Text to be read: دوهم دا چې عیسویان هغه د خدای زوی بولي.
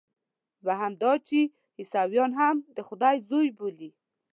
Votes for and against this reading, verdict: 0, 2, rejected